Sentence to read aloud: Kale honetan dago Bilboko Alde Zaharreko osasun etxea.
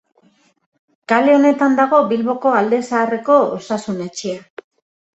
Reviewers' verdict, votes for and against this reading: accepted, 2, 0